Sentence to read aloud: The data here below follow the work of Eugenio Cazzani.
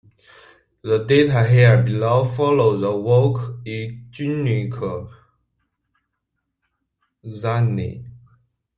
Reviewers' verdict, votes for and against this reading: rejected, 0, 2